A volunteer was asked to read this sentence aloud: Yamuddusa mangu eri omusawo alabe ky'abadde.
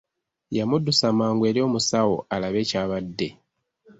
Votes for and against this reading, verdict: 2, 0, accepted